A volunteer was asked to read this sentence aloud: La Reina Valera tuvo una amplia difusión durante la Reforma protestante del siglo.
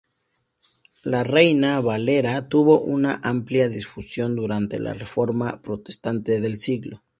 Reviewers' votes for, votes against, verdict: 2, 2, rejected